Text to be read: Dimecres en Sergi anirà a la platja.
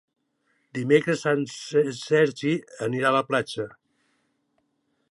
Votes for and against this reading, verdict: 1, 2, rejected